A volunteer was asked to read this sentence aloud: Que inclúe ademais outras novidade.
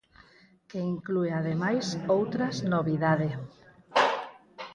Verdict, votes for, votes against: rejected, 2, 2